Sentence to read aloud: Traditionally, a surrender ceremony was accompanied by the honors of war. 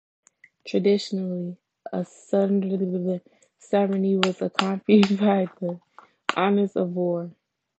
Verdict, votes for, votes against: rejected, 2, 3